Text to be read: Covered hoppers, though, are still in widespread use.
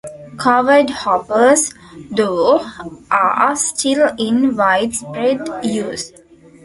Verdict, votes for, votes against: rejected, 0, 2